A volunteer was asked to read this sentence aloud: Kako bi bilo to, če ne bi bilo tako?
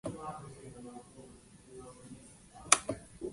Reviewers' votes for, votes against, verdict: 0, 2, rejected